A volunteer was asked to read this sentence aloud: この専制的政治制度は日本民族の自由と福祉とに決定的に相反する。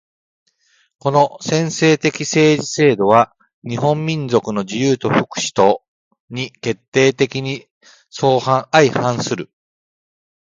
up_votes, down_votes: 2, 0